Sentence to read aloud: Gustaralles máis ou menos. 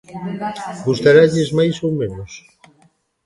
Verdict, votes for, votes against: accepted, 2, 1